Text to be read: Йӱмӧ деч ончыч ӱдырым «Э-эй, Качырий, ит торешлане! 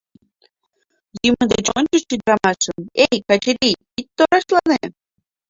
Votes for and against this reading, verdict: 1, 2, rejected